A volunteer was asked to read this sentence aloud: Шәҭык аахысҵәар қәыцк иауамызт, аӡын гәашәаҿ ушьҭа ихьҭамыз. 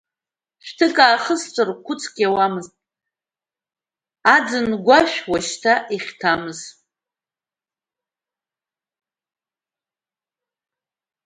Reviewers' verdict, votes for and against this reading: rejected, 1, 2